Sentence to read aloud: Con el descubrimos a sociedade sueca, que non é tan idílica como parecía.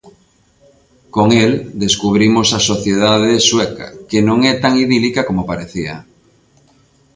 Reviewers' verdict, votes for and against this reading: accepted, 2, 1